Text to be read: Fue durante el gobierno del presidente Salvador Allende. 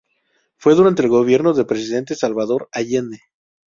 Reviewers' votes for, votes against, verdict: 2, 0, accepted